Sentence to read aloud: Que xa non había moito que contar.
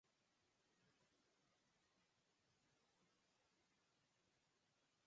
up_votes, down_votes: 2, 4